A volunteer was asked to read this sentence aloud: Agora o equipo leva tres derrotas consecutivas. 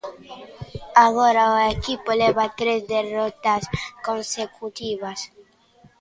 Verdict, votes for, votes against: accepted, 2, 1